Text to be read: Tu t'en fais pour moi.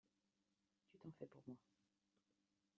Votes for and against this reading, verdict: 0, 2, rejected